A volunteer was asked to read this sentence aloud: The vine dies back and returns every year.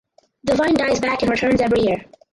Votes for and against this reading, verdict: 4, 2, accepted